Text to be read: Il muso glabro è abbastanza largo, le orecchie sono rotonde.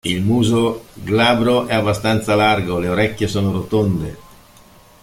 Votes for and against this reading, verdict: 2, 1, accepted